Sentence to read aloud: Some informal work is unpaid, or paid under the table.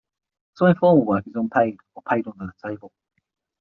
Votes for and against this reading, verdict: 6, 3, accepted